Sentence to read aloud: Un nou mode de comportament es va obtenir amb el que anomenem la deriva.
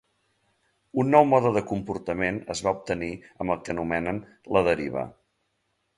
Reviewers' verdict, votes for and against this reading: rejected, 0, 2